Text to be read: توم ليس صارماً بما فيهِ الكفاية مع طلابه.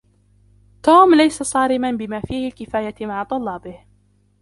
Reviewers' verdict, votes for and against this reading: rejected, 0, 2